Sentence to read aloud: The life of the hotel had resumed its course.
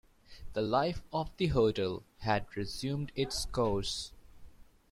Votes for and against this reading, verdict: 2, 0, accepted